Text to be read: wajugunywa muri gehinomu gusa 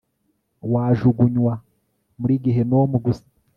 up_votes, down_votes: 3, 0